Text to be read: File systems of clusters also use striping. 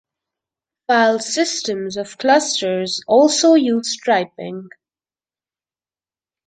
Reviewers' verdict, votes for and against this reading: accepted, 2, 1